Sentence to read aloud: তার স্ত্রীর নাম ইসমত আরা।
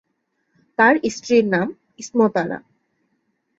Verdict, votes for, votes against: accepted, 2, 0